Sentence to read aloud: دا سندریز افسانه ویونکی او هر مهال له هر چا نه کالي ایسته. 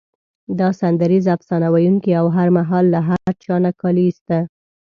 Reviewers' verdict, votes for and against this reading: accepted, 2, 0